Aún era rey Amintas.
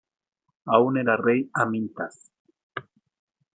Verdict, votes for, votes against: accepted, 2, 0